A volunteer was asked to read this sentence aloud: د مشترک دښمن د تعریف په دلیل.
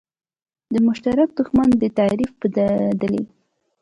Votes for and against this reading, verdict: 2, 0, accepted